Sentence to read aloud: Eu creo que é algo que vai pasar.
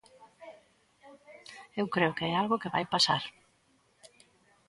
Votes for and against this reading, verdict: 2, 1, accepted